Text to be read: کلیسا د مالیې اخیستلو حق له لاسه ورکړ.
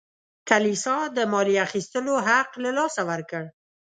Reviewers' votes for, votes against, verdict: 2, 0, accepted